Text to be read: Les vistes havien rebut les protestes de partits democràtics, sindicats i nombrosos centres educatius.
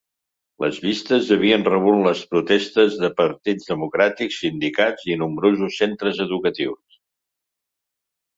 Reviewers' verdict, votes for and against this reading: accepted, 3, 0